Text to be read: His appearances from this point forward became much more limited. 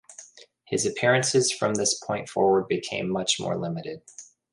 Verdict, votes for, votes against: accepted, 2, 0